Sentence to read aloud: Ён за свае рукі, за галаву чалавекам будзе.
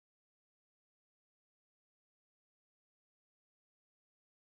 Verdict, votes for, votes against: rejected, 0, 2